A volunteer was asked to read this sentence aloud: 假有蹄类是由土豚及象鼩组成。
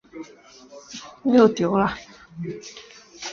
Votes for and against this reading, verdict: 2, 4, rejected